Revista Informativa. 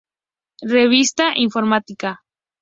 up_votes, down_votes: 0, 2